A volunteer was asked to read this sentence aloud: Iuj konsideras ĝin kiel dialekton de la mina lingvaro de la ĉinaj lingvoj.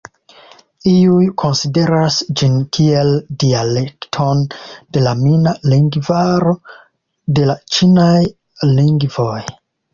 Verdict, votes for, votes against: accepted, 2, 1